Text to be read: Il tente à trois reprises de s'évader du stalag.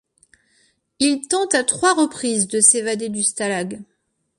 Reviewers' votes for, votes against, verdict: 2, 0, accepted